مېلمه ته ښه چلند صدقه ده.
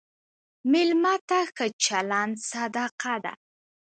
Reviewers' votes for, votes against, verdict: 0, 2, rejected